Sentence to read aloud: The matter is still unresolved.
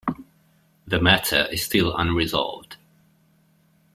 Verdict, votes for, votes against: accepted, 2, 0